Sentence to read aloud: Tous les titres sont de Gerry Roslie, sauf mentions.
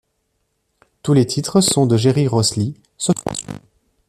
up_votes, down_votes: 2, 3